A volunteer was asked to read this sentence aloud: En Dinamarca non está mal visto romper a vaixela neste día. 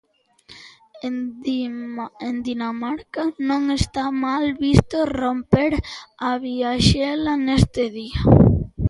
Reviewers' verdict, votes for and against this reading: rejected, 0, 2